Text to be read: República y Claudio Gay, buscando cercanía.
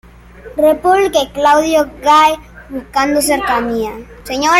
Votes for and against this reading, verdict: 0, 2, rejected